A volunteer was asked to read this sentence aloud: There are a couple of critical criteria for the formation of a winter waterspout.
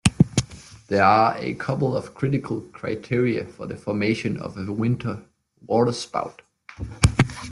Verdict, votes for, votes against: accepted, 2, 0